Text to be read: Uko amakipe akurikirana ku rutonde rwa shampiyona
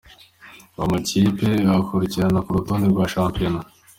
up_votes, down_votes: 2, 1